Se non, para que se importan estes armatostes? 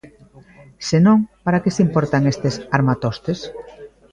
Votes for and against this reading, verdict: 0, 2, rejected